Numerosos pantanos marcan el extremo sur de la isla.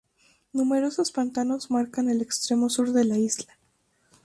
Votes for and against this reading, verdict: 4, 0, accepted